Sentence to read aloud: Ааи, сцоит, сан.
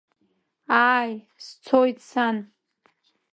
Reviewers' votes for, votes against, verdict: 2, 0, accepted